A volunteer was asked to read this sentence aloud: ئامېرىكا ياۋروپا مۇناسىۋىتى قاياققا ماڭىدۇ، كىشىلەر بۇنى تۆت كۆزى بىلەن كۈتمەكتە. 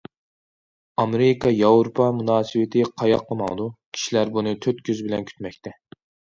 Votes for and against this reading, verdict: 2, 0, accepted